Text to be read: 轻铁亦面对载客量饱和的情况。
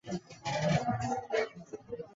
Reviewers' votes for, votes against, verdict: 0, 3, rejected